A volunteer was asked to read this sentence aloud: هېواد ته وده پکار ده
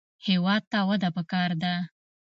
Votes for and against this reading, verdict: 2, 0, accepted